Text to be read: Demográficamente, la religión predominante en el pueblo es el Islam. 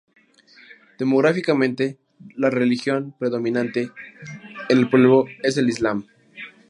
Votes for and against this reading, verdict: 0, 2, rejected